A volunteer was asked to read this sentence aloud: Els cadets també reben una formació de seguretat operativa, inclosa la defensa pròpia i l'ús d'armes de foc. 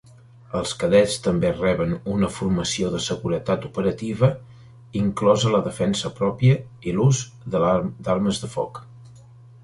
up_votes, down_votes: 1, 2